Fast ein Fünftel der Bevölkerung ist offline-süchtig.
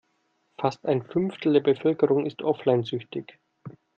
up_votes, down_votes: 2, 0